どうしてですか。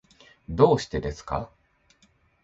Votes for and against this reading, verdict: 2, 0, accepted